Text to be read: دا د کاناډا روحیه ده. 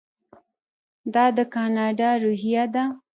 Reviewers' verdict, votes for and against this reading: rejected, 0, 2